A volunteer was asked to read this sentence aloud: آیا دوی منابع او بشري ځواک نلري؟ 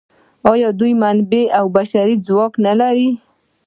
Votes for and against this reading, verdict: 0, 2, rejected